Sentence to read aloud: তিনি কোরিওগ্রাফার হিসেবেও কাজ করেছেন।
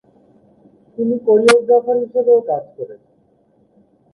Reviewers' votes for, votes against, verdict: 0, 2, rejected